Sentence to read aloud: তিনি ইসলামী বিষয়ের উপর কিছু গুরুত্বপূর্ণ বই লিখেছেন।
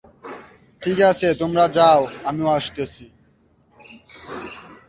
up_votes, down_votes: 1, 5